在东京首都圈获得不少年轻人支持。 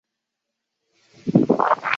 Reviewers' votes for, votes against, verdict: 0, 6, rejected